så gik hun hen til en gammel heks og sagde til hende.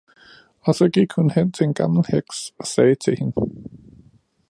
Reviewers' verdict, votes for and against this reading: rejected, 0, 2